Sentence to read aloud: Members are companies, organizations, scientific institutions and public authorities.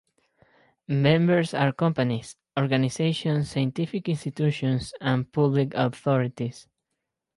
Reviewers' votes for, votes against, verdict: 4, 0, accepted